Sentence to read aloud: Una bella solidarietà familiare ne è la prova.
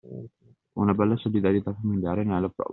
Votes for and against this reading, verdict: 2, 0, accepted